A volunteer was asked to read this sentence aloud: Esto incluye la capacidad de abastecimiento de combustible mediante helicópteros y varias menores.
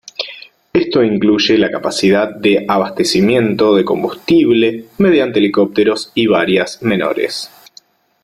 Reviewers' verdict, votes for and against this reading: accepted, 2, 0